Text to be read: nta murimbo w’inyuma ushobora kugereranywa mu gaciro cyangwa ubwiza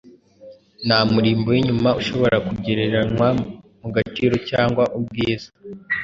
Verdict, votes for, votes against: accepted, 2, 0